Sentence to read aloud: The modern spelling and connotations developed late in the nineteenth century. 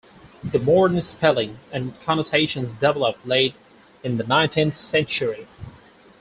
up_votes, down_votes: 4, 0